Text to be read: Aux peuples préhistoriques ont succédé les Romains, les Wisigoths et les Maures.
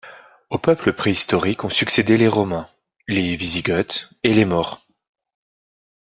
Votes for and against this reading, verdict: 2, 0, accepted